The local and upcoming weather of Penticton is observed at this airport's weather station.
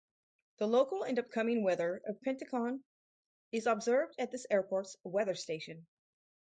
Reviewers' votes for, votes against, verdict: 4, 0, accepted